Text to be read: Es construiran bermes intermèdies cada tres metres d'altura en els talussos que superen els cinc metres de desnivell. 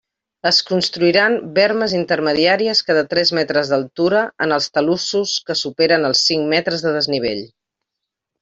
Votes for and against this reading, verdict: 0, 2, rejected